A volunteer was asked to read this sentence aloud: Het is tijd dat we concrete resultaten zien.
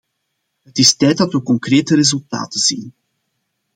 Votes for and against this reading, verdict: 2, 0, accepted